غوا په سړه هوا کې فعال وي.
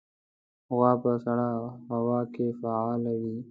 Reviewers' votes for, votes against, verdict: 2, 0, accepted